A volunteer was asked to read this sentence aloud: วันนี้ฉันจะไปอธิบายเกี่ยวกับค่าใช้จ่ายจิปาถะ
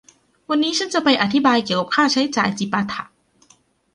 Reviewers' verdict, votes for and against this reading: accepted, 2, 0